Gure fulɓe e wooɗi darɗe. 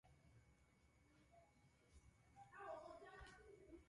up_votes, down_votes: 0, 2